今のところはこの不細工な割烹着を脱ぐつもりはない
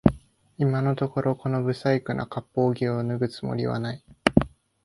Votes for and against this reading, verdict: 1, 2, rejected